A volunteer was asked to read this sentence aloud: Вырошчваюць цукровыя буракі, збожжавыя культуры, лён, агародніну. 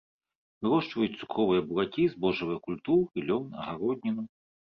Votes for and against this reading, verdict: 1, 2, rejected